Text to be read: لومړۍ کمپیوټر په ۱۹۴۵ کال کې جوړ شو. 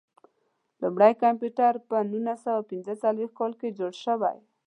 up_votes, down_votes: 0, 2